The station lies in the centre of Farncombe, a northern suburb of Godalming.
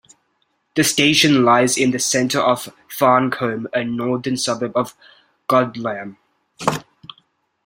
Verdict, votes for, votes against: rejected, 0, 2